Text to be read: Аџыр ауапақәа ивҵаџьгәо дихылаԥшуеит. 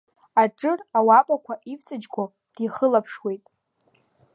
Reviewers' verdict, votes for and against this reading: accepted, 2, 0